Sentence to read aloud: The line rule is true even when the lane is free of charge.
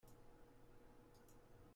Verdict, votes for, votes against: rejected, 0, 2